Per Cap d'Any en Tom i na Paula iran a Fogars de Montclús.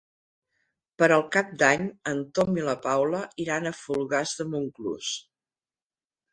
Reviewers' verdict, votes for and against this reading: rejected, 0, 2